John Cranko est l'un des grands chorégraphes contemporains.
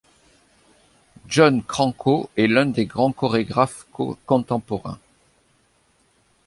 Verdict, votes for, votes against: rejected, 1, 2